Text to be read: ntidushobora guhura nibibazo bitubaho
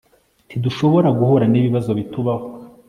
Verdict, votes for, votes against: accepted, 2, 0